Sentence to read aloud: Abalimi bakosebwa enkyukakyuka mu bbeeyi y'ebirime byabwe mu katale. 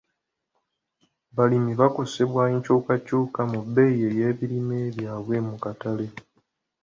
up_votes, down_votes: 2, 0